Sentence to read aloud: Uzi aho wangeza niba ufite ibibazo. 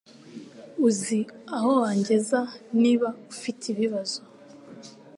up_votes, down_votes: 2, 0